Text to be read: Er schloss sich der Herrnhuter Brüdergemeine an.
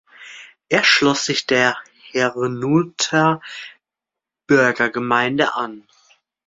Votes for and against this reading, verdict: 0, 2, rejected